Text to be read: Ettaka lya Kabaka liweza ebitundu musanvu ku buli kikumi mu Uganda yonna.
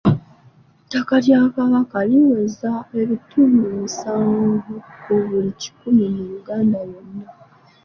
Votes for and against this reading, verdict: 1, 2, rejected